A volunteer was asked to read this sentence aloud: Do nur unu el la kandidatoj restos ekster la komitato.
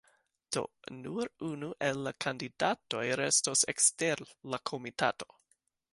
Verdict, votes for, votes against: accepted, 2, 0